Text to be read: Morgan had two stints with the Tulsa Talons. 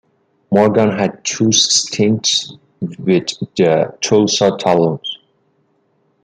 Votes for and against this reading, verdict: 2, 0, accepted